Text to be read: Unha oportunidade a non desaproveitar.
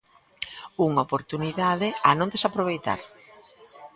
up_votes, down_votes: 2, 0